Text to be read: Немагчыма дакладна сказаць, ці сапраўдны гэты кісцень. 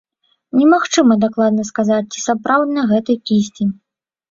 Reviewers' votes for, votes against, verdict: 2, 0, accepted